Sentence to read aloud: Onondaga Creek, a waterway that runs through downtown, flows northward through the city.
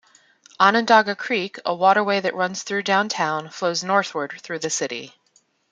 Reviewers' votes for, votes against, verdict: 2, 0, accepted